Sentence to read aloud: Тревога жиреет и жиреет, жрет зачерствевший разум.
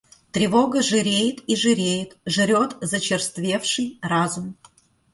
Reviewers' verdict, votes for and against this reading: accepted, 2, 0